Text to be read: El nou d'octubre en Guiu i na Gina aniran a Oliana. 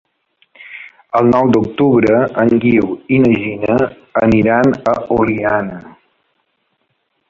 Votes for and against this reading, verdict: 1, 2, rejected